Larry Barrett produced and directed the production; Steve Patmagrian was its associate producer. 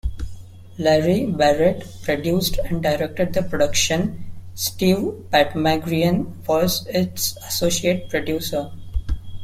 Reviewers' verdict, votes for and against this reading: rejected, 0, 2